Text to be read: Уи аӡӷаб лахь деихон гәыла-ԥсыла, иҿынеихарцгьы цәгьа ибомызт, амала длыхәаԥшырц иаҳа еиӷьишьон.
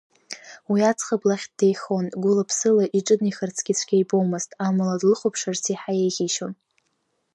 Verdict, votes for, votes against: accepted, 2, 0